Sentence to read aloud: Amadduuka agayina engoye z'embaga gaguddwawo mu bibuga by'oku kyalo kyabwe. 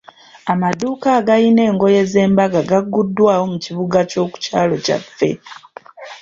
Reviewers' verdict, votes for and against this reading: accepted, 2, 1